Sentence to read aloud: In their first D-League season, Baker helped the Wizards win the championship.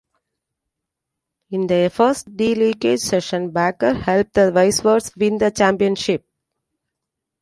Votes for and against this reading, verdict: 2, 0, accepted